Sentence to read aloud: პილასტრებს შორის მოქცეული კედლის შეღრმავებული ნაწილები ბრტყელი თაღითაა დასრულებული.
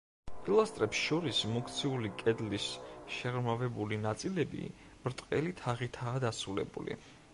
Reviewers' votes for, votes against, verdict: 1, 2, rejected